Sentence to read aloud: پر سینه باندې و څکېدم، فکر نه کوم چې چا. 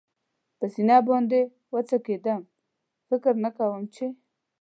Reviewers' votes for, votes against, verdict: 1, 2, rejected